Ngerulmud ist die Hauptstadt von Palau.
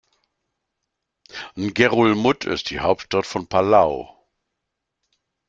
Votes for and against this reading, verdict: 2, 0, accepted